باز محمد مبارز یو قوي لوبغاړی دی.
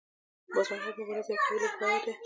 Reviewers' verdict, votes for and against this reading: accepted, 2, 1